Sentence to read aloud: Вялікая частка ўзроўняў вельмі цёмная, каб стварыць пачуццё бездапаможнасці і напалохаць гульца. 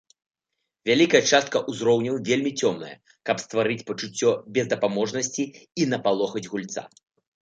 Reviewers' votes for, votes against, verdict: 2, 0, accepted